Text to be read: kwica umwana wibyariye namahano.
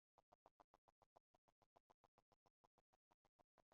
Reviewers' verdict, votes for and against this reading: rejected, 0, 2